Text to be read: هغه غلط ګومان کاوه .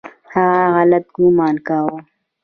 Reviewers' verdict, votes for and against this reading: rejected, 1, 2